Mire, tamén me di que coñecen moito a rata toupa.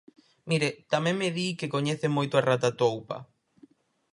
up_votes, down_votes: 4, 0